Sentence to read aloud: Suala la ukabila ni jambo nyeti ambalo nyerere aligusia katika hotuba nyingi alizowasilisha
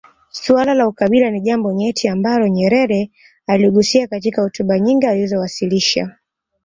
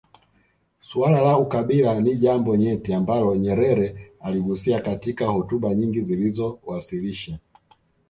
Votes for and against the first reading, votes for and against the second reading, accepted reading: 2, 0, 1, 2, first